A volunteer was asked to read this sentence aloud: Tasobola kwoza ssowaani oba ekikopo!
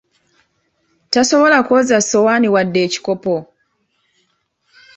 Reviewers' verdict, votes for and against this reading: accepted, 2, 1